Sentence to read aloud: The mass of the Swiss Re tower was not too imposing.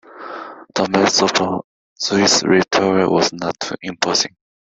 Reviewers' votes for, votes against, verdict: 2, 0, accepted